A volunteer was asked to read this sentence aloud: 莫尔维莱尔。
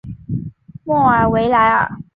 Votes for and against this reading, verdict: 4, 0, accepted